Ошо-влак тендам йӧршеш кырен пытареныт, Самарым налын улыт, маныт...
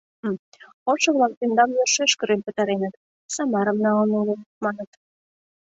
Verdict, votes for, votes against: accepted, 2, 0